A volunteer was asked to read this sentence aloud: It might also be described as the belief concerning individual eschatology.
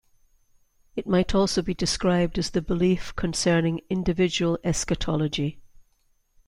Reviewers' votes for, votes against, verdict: 2, 0, accepted